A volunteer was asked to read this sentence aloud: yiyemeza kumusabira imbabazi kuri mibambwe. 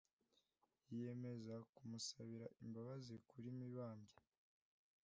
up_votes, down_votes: 2, 0